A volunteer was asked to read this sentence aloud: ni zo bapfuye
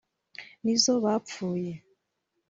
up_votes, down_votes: 2, 0